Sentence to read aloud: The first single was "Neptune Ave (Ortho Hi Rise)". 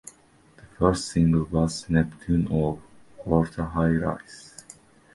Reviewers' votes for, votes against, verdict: 0, 2, rejected